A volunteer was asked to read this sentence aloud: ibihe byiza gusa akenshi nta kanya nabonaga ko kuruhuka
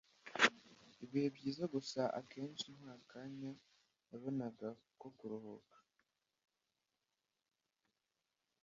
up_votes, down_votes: 1, 2